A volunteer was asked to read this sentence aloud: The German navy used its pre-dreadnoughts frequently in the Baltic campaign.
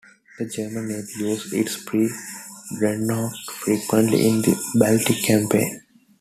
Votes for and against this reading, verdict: 2, 0, accepted